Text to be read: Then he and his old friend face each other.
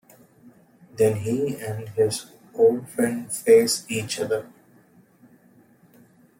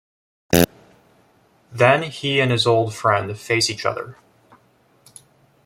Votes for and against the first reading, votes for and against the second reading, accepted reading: 2, 0, 1, 2, first